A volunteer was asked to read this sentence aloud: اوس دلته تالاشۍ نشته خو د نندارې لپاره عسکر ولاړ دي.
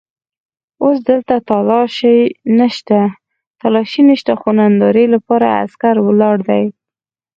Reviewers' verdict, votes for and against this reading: rejected, 2, 4